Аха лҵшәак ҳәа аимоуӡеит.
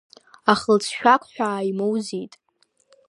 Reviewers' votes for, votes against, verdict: 2, 0, accepted